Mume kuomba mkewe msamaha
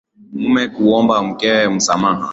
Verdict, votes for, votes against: accepted, 4, 1